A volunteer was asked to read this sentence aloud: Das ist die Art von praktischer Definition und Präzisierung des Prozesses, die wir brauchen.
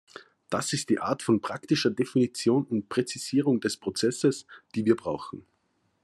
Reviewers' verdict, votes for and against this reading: accepted, 2, 0